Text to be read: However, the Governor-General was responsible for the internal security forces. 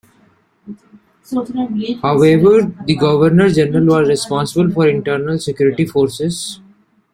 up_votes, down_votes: 0, 2